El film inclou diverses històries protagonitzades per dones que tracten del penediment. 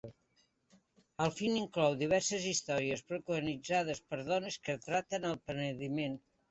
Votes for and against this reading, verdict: 0, 2, rejected